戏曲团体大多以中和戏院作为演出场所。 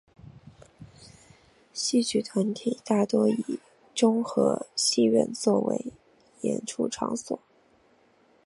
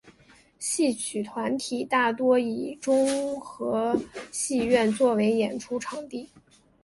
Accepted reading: first